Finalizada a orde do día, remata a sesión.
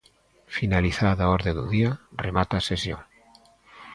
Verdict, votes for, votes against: accepted, 2, 0